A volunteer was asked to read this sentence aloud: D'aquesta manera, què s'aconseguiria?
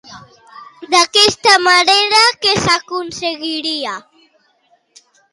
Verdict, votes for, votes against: accepted, 2, 1